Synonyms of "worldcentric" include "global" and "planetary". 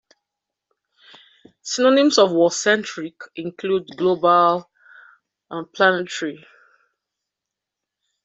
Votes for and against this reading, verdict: 0, 2, rejected